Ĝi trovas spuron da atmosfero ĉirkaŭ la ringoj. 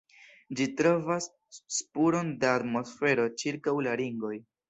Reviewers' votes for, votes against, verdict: 2, 0, accepted